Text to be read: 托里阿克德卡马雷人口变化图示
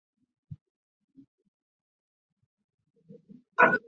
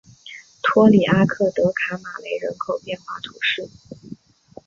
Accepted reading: second